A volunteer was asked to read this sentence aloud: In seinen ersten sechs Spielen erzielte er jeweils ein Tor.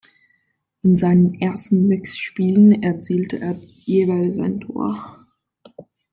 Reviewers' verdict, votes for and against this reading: accepted, 2, 0